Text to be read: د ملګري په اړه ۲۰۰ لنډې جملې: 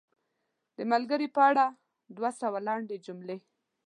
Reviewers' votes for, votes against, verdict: 0, 2, rejected